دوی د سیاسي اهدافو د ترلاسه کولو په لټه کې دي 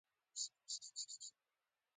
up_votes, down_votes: 0, 2